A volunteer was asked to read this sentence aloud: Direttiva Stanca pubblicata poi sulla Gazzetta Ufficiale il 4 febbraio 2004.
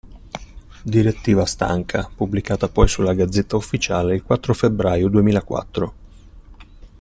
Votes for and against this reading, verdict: 0, 2, rejected